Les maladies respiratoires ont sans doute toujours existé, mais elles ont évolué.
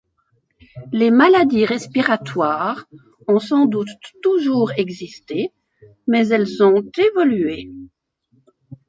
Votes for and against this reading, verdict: 2, 1, accepted